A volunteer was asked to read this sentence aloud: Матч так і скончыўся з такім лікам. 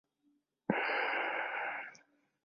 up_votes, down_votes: 0, 2